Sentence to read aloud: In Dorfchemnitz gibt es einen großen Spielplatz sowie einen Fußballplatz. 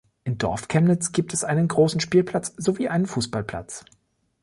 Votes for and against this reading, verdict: 2, 0, accepted